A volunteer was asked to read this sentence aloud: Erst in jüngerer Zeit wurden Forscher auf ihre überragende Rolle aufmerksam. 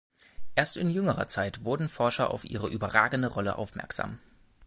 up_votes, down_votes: 1, 2